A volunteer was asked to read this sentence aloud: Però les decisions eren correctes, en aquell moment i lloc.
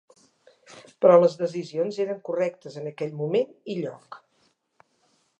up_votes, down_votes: 3, 0